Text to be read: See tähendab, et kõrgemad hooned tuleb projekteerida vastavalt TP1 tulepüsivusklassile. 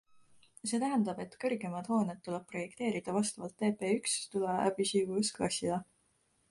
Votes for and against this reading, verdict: 0, 2, rejected